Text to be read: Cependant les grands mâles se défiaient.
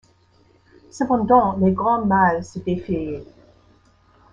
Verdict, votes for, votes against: accepted, 2, 0